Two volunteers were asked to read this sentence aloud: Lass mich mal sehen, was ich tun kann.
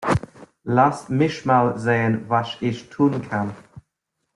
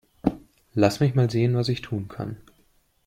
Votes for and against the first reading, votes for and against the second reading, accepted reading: 1, 2, 2, 0, second